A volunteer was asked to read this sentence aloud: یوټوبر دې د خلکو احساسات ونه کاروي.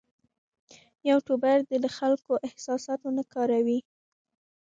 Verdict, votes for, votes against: rejected, 1, 2